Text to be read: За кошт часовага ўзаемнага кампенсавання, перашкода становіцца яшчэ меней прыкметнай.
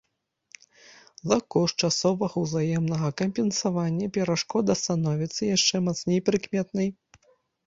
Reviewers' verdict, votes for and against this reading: rejected, 0, 2